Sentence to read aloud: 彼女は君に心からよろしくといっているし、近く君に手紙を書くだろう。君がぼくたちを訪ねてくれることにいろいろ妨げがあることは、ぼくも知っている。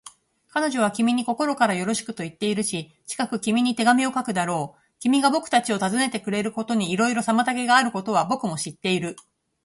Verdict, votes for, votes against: accepted, 2, 0